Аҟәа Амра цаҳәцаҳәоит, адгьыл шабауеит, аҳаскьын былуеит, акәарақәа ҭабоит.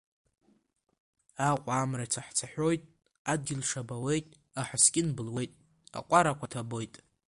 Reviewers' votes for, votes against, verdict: 2, 1, accepted